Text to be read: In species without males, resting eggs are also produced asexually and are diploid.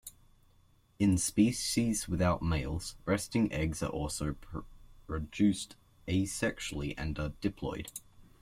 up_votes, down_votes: 0, 2